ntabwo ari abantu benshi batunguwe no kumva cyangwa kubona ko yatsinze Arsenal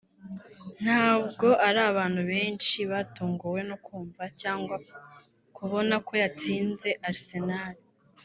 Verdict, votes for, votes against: rejected, 0, 2